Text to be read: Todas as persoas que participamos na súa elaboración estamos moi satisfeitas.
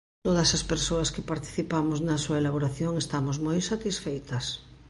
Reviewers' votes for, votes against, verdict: 2, 0, accepted